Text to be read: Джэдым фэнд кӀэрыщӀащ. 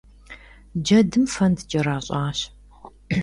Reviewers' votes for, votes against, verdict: 1, 2, rejected